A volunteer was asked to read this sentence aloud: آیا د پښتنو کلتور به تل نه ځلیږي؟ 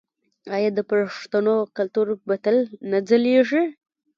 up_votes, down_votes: 0, 2